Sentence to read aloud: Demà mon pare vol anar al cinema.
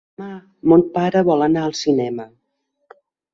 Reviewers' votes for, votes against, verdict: 1, 2, rejected